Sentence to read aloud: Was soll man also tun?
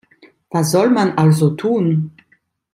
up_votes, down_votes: 2, 0